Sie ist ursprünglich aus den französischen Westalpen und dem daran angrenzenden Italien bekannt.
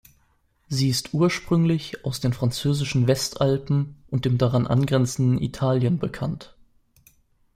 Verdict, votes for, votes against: accepted, 2, 0